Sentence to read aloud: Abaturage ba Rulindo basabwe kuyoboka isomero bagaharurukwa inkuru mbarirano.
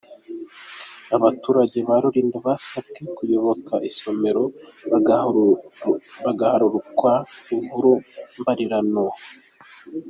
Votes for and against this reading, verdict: 0, 2, rejected